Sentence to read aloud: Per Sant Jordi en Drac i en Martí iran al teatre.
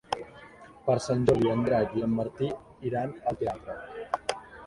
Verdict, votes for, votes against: rejected, 0, 2